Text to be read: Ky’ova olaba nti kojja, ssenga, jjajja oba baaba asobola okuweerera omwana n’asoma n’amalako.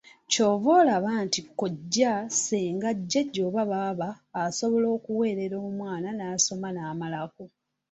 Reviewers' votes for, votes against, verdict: 2, 0, accepted